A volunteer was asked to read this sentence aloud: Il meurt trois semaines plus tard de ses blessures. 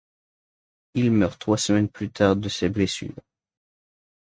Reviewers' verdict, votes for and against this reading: accepted, 2, 0